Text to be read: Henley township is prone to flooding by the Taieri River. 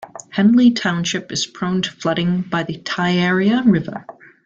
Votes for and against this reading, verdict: 2, 0, accepted